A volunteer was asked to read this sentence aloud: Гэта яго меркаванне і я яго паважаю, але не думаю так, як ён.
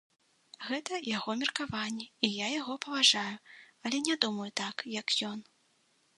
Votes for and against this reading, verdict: 2, 0, accepted